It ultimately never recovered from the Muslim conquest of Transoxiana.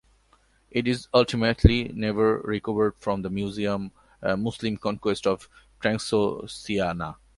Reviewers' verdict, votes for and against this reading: rejected, 0, 2